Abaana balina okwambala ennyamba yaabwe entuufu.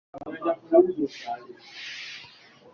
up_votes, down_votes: 0, 2